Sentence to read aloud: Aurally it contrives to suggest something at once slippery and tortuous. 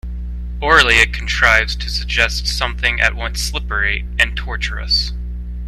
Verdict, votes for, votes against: rejected, 1, 2